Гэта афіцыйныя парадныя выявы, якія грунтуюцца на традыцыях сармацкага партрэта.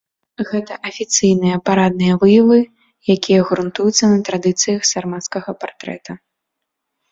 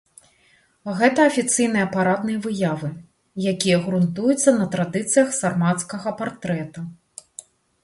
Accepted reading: second